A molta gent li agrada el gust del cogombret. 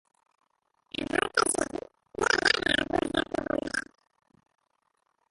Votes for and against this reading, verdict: 0, 2, rejected